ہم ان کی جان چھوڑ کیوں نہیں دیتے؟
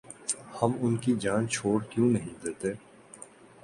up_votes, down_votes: 2, 0